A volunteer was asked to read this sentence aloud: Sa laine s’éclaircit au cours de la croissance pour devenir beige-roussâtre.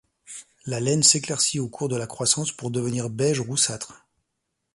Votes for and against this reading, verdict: 1, 2, rejected